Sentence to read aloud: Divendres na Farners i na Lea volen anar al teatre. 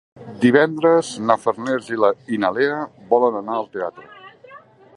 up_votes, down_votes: 2, 3